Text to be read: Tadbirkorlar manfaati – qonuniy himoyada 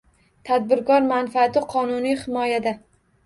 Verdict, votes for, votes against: rejected, 1, 2